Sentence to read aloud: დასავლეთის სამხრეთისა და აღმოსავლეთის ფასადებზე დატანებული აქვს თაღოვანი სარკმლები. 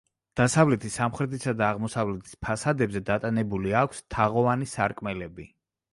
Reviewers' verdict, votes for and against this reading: rejected, 1, 2